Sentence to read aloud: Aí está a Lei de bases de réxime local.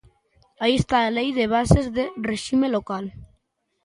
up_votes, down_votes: 0, 2